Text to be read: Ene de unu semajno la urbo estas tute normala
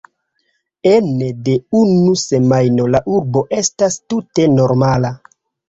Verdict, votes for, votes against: rejected, 1, 2